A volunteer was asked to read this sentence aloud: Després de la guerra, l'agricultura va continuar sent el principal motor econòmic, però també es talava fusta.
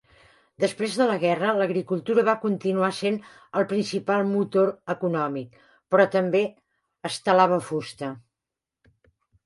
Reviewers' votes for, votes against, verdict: 2, 0, accepted